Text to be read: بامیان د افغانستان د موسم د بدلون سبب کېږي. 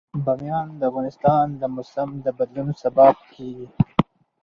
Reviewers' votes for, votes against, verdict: 2, 2, rejected